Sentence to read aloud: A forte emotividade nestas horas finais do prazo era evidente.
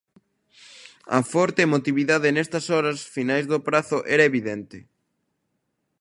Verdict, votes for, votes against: accepted, 2, 0